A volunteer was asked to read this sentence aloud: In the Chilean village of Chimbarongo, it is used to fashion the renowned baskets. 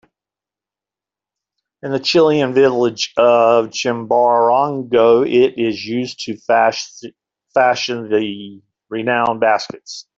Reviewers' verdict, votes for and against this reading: rejected, 0, 2